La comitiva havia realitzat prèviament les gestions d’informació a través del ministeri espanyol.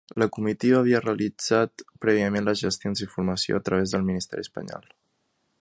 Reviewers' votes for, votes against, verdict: 3, 0, accepted